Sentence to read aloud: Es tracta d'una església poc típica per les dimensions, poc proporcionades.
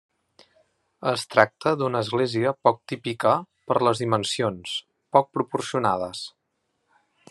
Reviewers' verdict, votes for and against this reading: accepted, 3, 1